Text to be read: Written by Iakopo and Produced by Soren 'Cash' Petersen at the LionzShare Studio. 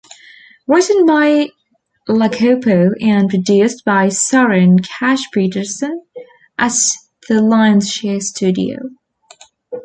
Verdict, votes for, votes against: rejected, 1, 2